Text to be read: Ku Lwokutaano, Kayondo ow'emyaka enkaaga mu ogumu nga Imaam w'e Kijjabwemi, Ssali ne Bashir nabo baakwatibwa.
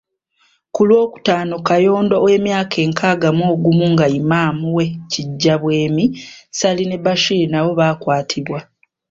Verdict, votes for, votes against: rejected, 1, 2